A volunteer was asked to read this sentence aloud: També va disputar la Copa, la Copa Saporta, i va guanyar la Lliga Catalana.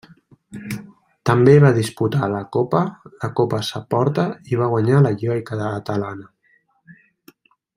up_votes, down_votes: 0, 2